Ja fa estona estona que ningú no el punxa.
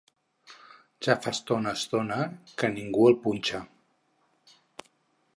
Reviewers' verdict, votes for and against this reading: rejected, 2, 4